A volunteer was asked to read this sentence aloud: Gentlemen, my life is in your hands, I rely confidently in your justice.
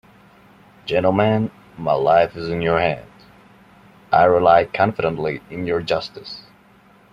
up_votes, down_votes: 1, 2